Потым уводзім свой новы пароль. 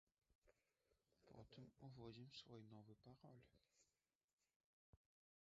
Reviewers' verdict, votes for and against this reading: rejected, 0, 2